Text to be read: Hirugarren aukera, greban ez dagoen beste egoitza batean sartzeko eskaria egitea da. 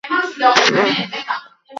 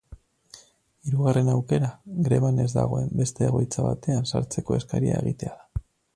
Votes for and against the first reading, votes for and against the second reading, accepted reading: 0, 2, 4, 0, second